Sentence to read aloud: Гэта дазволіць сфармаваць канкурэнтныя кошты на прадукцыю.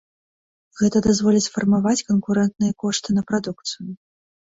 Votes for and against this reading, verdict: 2, 0, accepted